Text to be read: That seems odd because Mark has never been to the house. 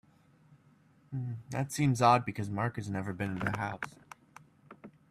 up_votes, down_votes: 1, 2